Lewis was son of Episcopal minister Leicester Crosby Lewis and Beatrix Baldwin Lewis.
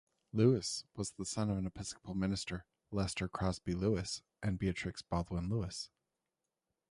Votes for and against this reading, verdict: 2, 0, accepted